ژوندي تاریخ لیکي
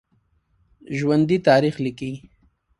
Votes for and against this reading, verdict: 2, 0, accepted